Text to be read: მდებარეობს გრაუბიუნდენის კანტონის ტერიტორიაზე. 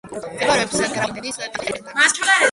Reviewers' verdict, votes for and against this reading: rejected, 1, 2